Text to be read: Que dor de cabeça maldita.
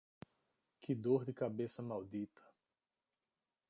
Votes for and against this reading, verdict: 2, 1, accepted